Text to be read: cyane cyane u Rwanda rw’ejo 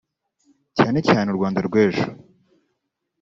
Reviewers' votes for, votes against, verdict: 0, 2, rejected